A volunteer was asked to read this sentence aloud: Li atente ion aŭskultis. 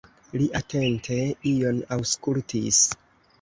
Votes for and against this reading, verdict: 2, 0, accepted